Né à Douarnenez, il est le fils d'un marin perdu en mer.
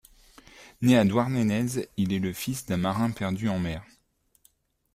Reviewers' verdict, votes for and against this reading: rejected, 0, 2